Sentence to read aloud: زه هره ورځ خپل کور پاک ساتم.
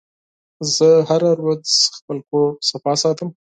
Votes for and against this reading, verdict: 0, 4, rejected